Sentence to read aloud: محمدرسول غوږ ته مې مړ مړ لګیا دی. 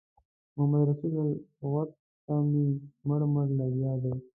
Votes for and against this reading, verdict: 0, 2, rejected